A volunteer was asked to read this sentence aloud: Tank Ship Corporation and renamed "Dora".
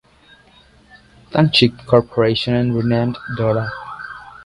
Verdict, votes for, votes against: accepted, 2, 1